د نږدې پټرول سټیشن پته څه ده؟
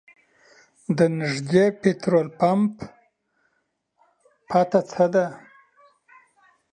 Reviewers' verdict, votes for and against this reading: rejected, 0, 2